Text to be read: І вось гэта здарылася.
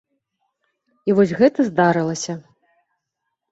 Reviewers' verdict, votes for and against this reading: accepted, 2, 0